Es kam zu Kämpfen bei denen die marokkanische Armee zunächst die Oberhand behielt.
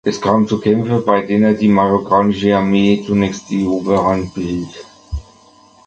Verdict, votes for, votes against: rejected, 0, 2